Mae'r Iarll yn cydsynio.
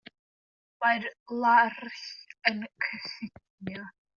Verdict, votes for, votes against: rejected, 0, 2